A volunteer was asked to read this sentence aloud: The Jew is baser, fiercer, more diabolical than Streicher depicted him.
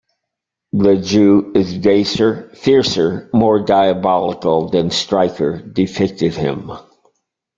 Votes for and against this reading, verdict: 1, 2, rejected